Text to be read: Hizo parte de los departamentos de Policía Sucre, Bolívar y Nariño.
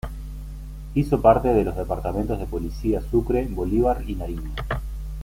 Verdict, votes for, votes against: accepted, 2, 1